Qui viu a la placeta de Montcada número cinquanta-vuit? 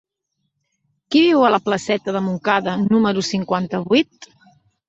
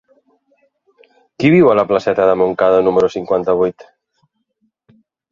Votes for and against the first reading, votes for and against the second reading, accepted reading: 3, 0, 1, 2, first